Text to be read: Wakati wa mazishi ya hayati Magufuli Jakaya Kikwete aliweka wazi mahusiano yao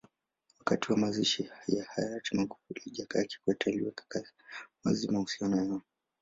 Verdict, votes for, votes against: rejected, 1, 2